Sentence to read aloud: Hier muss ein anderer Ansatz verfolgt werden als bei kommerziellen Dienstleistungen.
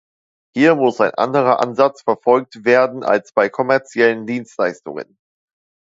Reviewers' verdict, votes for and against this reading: accepted, 2, 0